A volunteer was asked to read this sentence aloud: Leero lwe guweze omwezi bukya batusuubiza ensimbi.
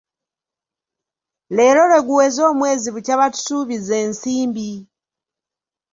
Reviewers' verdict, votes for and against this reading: accepted, 2, 1